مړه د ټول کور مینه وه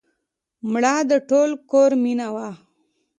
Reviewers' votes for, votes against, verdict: 2, 0, accepted